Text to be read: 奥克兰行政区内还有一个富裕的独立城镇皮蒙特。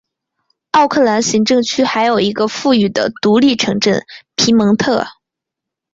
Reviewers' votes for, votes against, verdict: 2, 0, accepted